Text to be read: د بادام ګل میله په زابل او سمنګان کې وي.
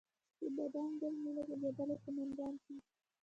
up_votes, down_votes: 0, 2